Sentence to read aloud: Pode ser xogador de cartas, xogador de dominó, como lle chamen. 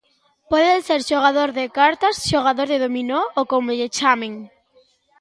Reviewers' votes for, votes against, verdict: 1, 2, rejected